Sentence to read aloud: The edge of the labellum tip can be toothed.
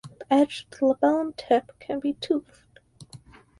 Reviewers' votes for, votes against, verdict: 0, 4, rejected